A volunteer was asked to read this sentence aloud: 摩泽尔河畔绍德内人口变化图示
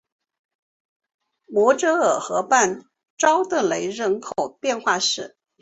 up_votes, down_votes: 2, 1